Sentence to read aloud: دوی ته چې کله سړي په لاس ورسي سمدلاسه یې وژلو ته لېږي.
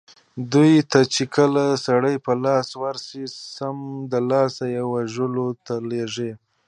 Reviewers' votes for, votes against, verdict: 0, 2, rejected